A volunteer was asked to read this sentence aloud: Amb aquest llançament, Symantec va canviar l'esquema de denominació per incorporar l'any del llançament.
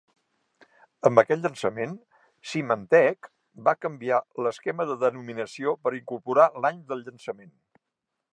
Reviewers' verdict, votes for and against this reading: accepted, 2, 0